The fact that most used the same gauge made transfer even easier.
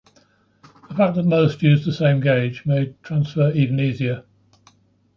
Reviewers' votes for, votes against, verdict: 0, 2, rejected